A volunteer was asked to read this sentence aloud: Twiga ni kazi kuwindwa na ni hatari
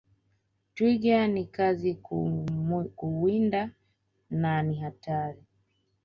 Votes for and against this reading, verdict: 1, 2, rejected